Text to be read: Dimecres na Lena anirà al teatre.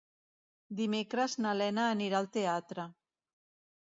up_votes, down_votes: 3, 0